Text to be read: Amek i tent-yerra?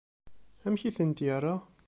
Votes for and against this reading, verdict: 2, 0, accepted